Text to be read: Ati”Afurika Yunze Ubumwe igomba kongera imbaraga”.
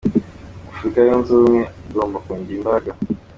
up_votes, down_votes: 2, 1